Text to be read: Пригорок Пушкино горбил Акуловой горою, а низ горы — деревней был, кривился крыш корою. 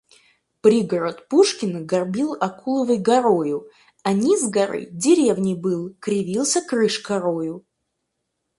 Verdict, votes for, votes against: rejected, 2, 4